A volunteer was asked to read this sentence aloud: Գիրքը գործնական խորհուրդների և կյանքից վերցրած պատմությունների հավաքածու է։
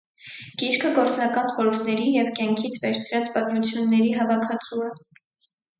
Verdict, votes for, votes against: accepted, 4, 0